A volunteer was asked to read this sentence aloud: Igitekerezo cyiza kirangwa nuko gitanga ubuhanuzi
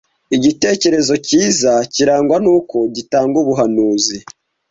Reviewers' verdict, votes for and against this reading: accepted, 2, 0